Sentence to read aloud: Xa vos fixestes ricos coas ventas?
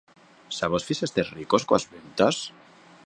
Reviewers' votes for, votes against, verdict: 0, 2, rejected